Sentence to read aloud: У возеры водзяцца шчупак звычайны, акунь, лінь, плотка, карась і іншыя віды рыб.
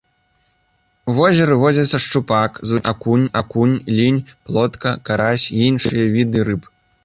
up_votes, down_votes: 0, 2